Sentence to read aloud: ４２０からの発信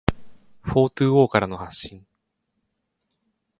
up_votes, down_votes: 0, 2